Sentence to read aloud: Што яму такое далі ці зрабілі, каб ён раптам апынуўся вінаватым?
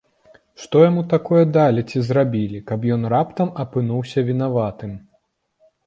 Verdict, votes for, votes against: accepted, 2, 0